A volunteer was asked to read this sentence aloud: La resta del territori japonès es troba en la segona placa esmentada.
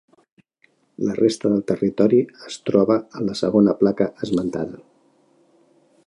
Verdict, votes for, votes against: rejected, 0, 2